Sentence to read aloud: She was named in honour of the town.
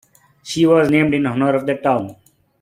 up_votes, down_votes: 2, 0